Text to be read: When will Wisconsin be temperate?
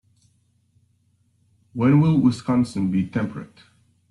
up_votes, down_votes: 2, 1